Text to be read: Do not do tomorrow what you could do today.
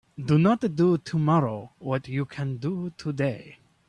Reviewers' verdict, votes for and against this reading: rejected, 0, 2